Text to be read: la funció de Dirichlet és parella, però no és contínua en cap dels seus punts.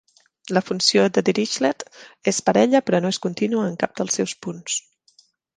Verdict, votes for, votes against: accepted, 3, 0